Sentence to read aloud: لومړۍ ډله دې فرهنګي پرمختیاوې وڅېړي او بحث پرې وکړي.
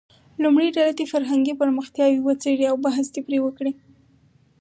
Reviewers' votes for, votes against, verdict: 2, 4, rejected